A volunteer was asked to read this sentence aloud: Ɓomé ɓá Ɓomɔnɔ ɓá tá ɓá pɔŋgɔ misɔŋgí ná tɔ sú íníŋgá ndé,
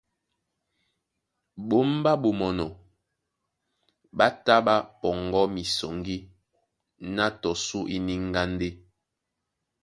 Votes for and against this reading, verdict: 2, 0, accepted